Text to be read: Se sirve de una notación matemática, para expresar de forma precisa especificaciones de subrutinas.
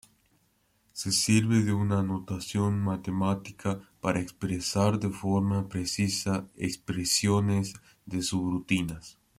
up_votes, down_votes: 1, 2